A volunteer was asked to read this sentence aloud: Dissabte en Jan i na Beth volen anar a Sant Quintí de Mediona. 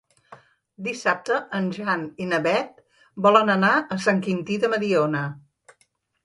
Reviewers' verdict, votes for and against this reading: accepted, 3, 0